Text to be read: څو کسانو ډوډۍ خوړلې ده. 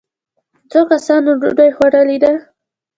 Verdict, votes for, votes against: rejected, 1, 2